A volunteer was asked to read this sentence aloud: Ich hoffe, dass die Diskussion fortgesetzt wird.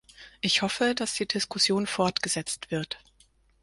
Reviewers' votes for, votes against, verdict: 4, 0, accepted